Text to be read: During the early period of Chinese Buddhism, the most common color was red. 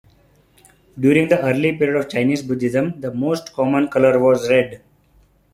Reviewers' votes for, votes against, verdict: 2, 0, accepted